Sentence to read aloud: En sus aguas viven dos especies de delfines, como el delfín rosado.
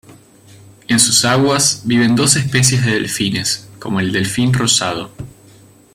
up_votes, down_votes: 2, 0